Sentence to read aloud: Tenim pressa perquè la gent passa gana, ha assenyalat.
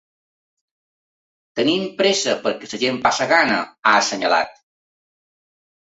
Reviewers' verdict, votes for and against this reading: rejected, 1, 2